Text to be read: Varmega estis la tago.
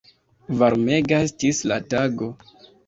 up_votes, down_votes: 2, 0